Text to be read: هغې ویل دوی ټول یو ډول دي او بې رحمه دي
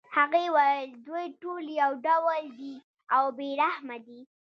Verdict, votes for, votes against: rejected, 1, 2